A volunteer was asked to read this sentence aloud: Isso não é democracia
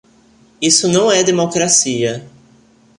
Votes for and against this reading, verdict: 2, 0, accepted